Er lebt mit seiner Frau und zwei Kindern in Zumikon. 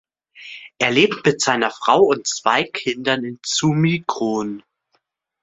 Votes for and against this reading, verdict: 2, 0, accepted